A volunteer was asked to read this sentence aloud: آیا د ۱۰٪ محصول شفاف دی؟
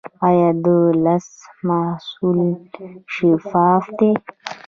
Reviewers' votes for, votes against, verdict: 0, 2, rejected